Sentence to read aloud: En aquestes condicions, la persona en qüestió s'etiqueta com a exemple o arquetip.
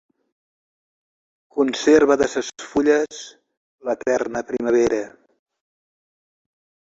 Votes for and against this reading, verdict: 0, 2, rejected